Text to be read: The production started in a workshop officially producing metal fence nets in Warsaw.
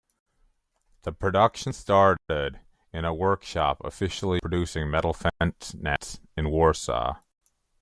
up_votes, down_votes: 1, 2